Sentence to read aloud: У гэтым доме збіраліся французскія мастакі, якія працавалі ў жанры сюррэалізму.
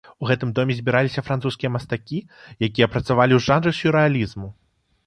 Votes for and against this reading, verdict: 2, 0, accepted